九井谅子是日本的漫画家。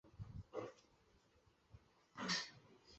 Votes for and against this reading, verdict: 0, 3, rejected